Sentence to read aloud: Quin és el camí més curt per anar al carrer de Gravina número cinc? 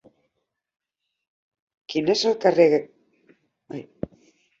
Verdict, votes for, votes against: rejected, 0, 2